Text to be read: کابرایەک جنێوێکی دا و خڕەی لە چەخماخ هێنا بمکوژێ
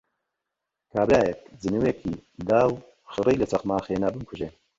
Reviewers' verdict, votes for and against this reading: rejected, 1, 2